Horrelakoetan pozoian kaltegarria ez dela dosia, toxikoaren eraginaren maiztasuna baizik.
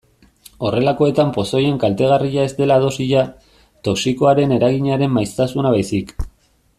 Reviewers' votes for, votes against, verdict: 1, 2, rejected